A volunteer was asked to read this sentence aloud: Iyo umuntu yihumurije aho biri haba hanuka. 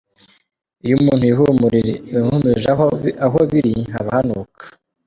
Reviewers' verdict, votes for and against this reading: rejected, 1, 2